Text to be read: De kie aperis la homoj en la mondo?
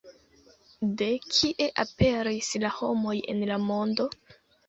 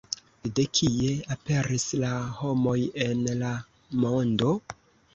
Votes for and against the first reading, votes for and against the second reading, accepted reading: 0, 2, 2, 0, second